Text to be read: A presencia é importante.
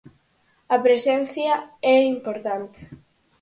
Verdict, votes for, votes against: accepted, 4, 0